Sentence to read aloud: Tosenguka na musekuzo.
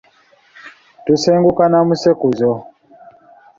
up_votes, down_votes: 1, 2